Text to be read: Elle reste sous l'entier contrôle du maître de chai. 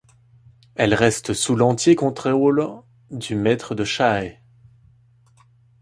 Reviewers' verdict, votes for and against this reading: rejected, 1, 2